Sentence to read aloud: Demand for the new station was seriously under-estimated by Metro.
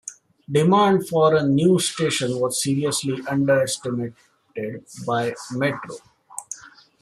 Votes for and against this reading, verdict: 2, 0, accepted